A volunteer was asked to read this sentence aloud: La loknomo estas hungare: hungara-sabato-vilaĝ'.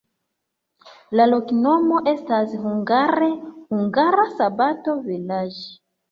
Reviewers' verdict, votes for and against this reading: rejected, 1, 2